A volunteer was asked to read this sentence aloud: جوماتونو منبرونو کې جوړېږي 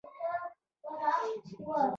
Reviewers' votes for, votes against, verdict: 0, 2, rejected